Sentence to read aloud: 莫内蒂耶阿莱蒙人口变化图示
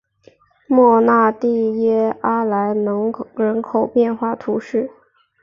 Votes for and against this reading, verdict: 3, 1, accepted